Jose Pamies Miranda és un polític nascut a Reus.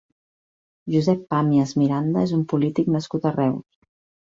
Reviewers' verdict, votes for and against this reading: rejected, 1, 2